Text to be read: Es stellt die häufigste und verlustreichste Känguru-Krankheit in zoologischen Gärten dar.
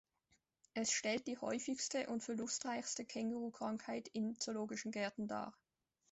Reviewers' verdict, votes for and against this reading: accepted, 2, 0